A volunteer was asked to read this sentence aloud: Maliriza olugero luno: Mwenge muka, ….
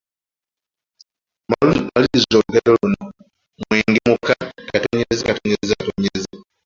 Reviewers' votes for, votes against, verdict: 0, 2, rejected